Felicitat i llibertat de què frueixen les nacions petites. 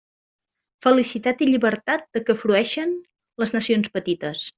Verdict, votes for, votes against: accepted, 2, 0